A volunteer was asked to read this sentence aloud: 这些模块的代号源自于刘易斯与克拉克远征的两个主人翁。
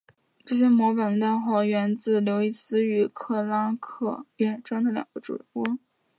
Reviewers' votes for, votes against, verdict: 3, 0, accepted